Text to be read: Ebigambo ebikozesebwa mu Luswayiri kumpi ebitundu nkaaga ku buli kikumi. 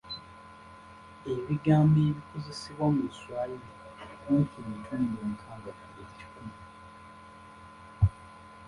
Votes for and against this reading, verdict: 0, 2, rejected